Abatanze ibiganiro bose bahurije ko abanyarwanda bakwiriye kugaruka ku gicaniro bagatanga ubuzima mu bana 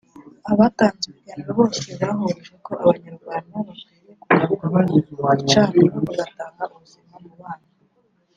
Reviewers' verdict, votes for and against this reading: rejected, 0, 2